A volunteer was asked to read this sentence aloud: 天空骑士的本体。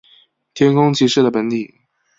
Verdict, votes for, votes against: accepted, 3, 0